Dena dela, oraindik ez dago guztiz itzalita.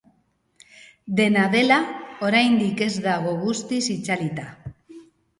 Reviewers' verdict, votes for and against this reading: accepted, 2, 0